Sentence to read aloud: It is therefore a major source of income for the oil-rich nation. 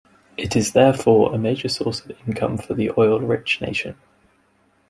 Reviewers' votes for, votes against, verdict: 2, 0, accepted